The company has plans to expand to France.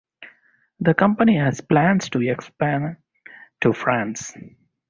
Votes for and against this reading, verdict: 0, 4, rejected